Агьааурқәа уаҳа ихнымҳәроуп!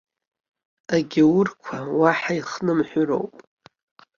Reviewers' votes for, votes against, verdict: 2, 1, accepted